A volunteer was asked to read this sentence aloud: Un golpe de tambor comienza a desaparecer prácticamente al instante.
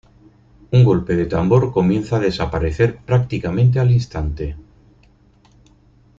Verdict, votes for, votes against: accepted, 4, 0